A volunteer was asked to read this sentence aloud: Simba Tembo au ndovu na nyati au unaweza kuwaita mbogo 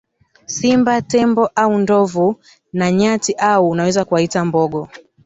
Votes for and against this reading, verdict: 3, 1, accepted